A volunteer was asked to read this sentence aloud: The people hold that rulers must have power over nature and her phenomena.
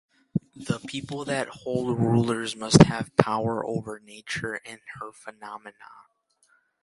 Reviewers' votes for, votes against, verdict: 0, 2, rejected